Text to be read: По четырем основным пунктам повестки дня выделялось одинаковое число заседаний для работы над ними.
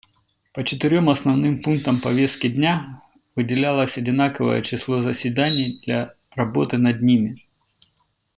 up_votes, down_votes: 2, 0